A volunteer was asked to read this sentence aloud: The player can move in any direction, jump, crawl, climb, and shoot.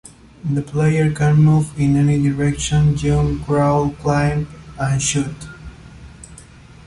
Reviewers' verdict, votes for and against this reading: accepted, 2, 0